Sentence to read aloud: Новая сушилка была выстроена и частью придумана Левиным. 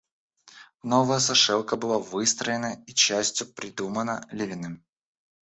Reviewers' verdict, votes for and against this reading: rejected, 1, 2